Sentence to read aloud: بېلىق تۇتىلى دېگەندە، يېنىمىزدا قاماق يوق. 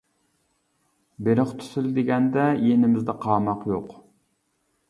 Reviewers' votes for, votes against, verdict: 1, 2, rejected